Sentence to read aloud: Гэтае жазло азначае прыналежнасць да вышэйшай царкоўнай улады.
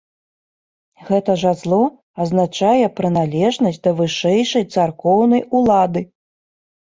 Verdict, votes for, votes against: accepted, 2, 0